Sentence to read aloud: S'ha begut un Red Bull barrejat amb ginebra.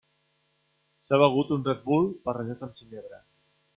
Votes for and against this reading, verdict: 0, 2, rejected